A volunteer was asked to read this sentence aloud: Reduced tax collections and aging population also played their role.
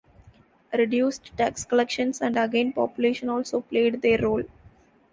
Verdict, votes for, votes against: rejected, 1, 2